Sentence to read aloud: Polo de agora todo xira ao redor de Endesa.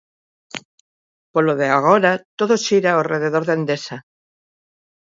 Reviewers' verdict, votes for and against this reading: rejected, 3, 5